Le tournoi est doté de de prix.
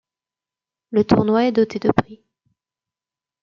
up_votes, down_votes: 0, 2